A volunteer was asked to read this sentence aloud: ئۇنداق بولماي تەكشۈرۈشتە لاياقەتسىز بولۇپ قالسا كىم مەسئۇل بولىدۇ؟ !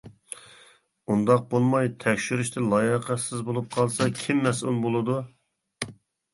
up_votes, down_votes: 2, 0